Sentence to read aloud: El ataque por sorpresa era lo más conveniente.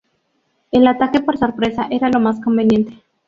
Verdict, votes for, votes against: rejected, 0, 2